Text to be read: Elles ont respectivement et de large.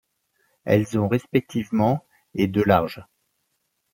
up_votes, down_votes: 2, 0